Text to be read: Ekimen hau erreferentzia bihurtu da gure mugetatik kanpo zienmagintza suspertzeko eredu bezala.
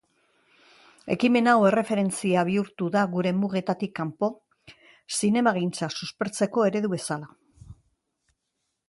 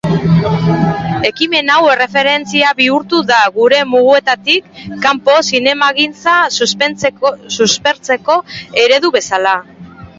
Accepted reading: first